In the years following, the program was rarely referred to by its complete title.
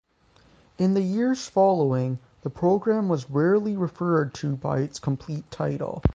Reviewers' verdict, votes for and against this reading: accepted, 6, 0